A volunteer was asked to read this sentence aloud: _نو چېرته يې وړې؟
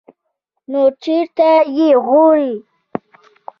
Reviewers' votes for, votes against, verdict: 0, 2, rejected